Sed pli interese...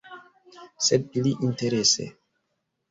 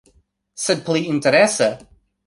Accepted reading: second